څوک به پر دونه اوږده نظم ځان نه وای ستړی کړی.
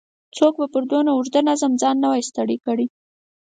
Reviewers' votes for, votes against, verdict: 4, 0, accepted